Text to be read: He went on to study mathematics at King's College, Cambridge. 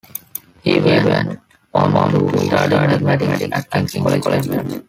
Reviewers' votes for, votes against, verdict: 0, 2, rejected